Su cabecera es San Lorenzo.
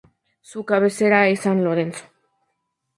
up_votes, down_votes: 4, 0